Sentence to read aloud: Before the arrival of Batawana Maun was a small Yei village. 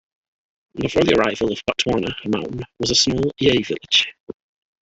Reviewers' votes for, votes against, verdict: 0, 2, rejected